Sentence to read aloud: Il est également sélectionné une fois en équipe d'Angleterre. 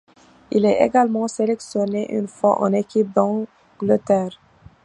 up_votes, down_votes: 1, 2